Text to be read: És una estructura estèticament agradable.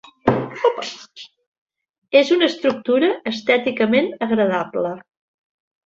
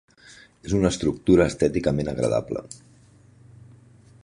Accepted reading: second